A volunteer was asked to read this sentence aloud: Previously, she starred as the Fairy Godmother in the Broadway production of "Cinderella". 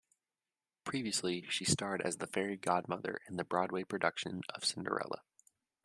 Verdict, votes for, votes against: accepted, 2, 0